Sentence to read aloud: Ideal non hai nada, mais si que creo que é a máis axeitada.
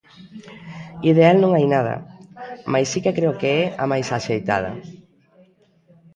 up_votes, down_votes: 2, 0